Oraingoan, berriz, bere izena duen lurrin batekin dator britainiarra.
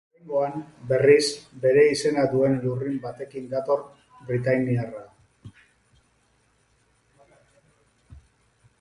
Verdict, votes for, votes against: rejected, 2, 4